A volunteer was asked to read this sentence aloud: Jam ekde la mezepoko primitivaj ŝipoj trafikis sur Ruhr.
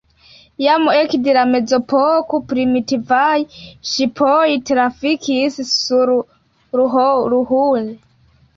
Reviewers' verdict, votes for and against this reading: accepted, 2, 1